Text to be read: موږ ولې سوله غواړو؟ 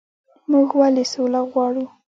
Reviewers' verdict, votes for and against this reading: rejected, 0, 2